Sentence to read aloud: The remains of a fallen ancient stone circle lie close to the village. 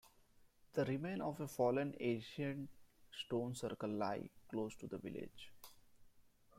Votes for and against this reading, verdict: 1, 2, rejected